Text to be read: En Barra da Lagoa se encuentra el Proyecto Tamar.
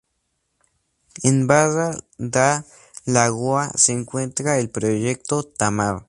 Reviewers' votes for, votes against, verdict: 0, 2, rejected